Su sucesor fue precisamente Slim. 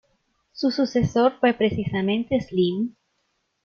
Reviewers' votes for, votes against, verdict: 2, 0, accepted